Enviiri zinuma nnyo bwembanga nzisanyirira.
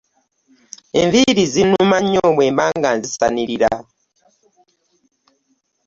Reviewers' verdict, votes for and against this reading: accepted, 2, 0